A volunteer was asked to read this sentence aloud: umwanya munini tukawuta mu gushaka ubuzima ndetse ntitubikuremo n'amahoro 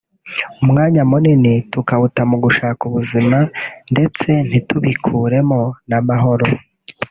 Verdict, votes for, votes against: accepted, 2, 0